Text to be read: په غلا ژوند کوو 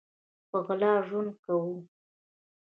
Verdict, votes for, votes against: rejected, 0, 2